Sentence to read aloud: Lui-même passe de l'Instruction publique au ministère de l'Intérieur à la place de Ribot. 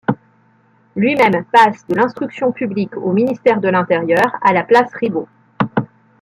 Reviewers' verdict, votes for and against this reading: rejected, 1, 2